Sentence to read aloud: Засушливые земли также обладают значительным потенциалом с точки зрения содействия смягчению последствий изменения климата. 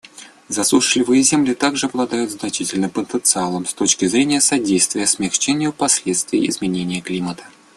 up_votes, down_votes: 2, 0